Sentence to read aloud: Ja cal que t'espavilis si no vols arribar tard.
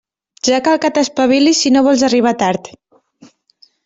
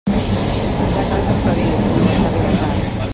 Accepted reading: first